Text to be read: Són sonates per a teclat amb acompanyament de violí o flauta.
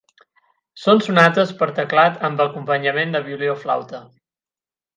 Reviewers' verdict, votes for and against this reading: accepted, 8, 0